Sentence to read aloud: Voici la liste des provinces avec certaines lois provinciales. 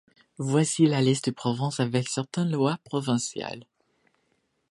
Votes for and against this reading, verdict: 1, 2, rejected